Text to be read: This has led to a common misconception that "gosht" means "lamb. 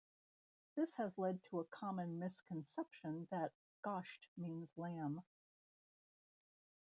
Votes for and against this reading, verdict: 1, 2, rejected